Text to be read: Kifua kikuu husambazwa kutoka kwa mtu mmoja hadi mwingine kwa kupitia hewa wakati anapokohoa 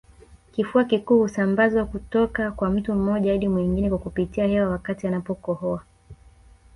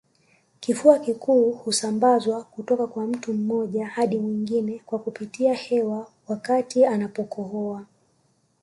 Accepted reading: second